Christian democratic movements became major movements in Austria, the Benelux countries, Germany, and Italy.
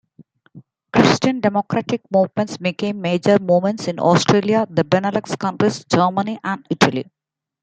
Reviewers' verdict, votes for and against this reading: accepted, 2, 1